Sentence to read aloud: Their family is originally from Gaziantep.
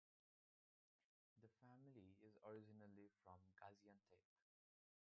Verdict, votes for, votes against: rejected, 0, 2